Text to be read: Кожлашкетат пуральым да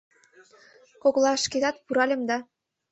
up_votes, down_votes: 0, 2